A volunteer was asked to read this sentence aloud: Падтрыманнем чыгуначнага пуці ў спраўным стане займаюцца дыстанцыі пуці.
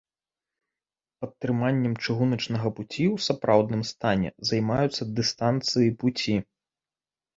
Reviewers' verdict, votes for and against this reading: rejected, 1, 2